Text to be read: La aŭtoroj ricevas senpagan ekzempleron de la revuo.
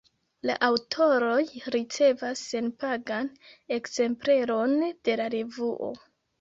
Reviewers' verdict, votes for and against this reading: accepted, 2, 0